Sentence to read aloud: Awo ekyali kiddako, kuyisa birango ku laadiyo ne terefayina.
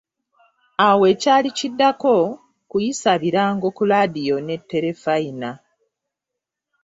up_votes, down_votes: 2, 0